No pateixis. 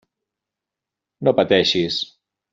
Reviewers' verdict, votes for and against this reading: accepted, 3, 0